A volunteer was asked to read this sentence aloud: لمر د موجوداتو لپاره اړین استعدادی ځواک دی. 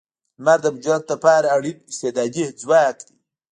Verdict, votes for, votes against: rejected, 0, 2